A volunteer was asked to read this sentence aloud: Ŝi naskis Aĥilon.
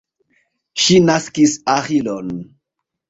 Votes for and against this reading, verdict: 2, 1, accepted